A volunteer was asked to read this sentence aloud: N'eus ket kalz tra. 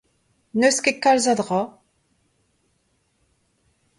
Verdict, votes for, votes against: rejected, 0, 2